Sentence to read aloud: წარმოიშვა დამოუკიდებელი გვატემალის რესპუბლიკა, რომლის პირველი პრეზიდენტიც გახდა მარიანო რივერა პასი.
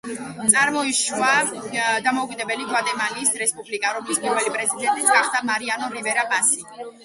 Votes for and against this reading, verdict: 0, 2, rejected